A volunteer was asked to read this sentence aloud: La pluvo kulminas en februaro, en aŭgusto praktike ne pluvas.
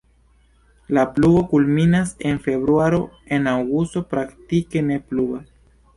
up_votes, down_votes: 2, 1